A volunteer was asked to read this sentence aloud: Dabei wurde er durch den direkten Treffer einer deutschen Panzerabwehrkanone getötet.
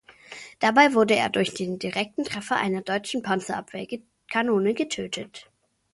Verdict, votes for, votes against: rejected, 0, 2